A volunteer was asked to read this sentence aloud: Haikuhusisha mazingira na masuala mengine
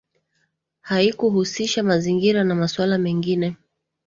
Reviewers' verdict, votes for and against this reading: accepted, 2, 0